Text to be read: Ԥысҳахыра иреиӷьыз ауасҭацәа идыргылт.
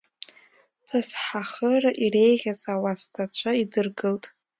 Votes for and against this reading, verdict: 2, 0, accepted